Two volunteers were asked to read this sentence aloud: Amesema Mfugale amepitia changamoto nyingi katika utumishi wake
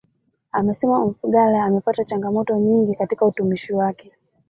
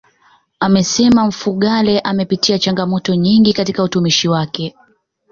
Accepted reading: second